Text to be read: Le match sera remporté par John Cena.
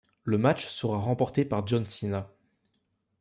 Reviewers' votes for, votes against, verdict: 2, 0, accepted